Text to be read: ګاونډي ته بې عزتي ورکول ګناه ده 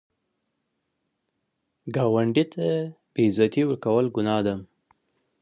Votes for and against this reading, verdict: 2, 0, accepted